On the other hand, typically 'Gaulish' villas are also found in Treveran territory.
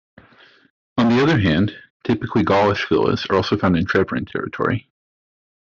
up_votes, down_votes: 2, 1